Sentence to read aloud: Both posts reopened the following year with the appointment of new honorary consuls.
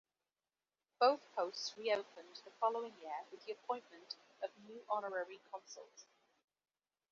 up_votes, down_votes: 2, 0